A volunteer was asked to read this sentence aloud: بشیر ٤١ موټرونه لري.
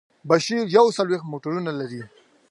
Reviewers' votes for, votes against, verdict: 0, 2, rejected